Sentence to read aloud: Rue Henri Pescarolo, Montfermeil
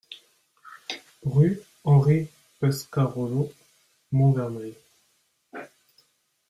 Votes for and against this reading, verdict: 0, 2, rejected